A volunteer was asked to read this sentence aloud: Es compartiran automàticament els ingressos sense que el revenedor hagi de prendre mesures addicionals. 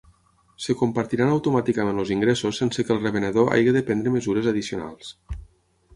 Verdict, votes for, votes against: rejected, 3, 6